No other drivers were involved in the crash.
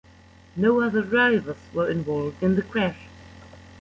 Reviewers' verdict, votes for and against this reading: accepted, 2, 1